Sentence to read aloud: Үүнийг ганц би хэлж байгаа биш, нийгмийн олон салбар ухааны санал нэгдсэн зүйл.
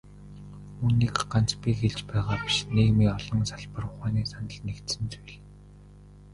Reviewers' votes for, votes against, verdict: 1, 2, rejected